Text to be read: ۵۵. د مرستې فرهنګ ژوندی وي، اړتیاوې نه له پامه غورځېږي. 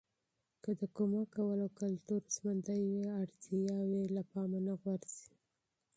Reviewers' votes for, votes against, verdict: 0, 2, rejected